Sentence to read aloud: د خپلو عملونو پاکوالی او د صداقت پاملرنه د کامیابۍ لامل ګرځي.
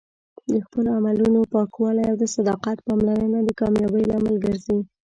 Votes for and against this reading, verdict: 1, 2, rejected